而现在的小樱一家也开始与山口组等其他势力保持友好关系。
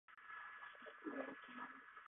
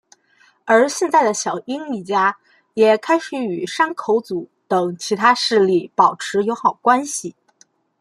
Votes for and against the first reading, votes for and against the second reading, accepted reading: 0, 3, 2, 0, second